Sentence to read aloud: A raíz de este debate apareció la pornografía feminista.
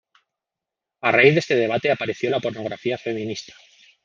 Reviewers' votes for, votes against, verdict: 2, 0, accepted